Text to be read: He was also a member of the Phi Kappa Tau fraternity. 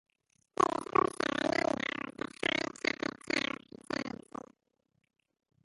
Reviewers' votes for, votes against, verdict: 0, 2, rejected